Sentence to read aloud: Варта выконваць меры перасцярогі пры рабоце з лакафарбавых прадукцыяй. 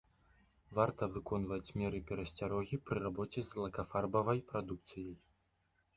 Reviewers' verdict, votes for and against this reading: rejected, 1, 3